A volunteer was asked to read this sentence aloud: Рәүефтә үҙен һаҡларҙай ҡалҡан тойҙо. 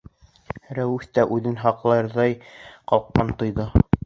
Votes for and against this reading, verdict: 1, 2, rejected